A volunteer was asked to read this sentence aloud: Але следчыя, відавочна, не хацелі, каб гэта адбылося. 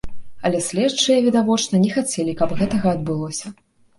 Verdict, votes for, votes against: rejected, 0, 2